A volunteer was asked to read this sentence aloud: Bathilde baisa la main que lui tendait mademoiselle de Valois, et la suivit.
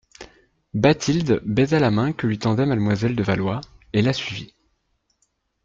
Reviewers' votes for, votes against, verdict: 2, 0, accepted